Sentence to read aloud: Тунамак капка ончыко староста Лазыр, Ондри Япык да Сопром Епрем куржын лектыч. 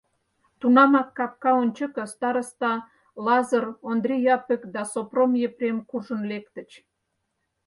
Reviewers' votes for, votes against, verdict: 4, 0, accepted